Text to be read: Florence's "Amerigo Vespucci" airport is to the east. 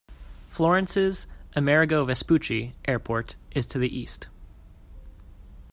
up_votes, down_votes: 2, 0